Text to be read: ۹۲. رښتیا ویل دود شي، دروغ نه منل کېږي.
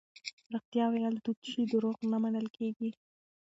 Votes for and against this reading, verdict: 0, 2, rejected